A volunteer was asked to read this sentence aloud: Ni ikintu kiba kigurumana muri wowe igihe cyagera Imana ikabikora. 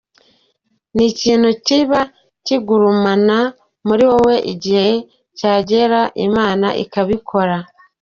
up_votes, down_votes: 2, 0